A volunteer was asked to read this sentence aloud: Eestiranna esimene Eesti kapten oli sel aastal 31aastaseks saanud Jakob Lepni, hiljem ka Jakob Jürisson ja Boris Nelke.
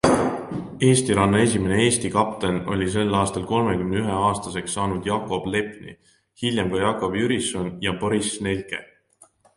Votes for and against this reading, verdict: 0, 2, rejected